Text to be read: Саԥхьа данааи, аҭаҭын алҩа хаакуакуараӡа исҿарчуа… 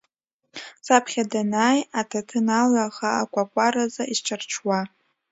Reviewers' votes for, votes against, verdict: 1, 2, rejected